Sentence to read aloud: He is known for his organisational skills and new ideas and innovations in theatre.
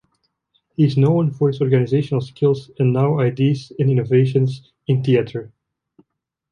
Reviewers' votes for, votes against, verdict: 2, 1, accepted